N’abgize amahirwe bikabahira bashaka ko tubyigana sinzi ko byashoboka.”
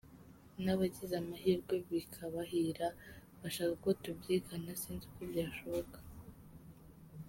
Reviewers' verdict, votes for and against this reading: rejected, 1, 2